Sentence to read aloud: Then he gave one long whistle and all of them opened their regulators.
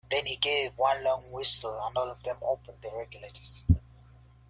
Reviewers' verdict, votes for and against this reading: accepted, 2, 0